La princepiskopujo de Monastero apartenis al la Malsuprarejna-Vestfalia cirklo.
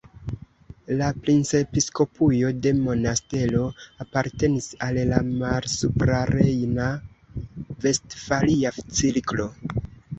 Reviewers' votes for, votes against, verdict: 2, 0, accepted